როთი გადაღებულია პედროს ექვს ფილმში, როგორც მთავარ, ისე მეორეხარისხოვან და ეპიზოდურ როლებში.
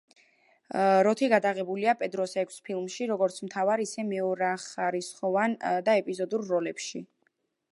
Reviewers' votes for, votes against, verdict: 1, 2, rejected